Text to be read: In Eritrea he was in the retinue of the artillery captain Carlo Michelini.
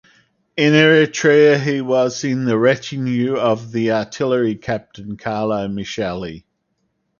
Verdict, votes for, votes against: rejected, 2, 4